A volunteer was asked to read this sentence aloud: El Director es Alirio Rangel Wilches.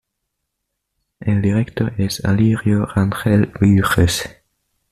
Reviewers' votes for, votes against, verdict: 1, 2, rejected